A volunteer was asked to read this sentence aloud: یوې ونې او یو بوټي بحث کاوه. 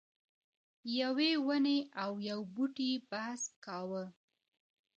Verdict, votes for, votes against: accepted, 2, 0